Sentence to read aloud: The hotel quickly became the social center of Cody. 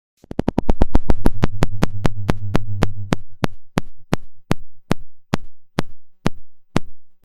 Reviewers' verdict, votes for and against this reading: rejected, 0, 2